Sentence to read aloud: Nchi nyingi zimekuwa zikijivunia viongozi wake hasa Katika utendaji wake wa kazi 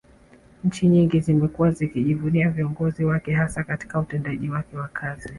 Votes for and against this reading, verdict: 2, 0, accepted